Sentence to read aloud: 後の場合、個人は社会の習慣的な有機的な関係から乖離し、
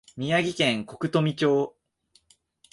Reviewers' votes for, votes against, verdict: 1, 2, rejected